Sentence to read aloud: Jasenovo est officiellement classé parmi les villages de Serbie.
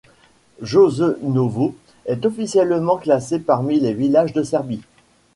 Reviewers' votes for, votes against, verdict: 1, 2, rejected